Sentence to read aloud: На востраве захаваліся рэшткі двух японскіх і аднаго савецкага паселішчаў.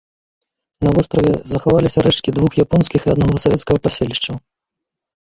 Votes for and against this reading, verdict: 0, 2, rejected